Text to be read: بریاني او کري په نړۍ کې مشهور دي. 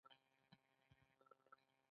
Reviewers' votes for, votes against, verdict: 1, 2, rejected